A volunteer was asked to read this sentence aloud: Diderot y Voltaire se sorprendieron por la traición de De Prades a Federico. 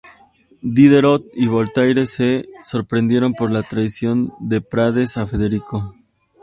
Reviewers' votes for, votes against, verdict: 2, 0, accepted